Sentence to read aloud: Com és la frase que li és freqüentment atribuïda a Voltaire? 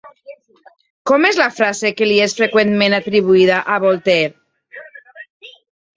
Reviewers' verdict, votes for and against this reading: accepted, 2, 1